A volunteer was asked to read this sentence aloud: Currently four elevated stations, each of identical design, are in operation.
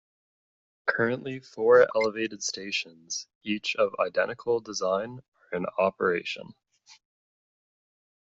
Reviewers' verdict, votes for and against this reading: accepted, 2, 0